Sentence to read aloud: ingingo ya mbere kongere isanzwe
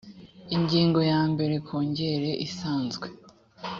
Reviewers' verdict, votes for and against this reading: accepted, 2, 0